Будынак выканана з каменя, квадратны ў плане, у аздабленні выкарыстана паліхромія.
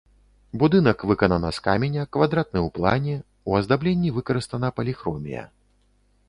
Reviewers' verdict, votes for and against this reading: accepted, 3, 0